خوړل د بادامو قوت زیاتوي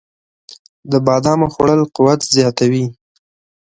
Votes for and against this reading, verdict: 1, 2, rejected